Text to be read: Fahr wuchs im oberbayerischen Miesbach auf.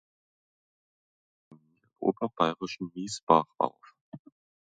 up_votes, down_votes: 1, 2